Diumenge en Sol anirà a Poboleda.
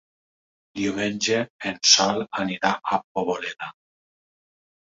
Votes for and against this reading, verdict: 2, 0, accepted